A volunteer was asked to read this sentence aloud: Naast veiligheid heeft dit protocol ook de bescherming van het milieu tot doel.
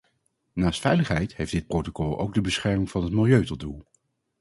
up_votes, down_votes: 2, 0